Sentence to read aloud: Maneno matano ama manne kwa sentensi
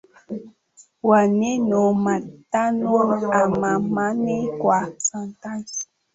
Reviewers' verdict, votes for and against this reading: rejected, 0, 2